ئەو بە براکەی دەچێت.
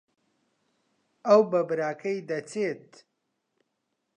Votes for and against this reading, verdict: 2, 0, accepted